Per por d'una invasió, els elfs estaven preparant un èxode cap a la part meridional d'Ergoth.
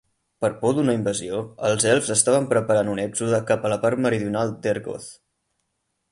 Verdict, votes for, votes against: accepted, 4, 0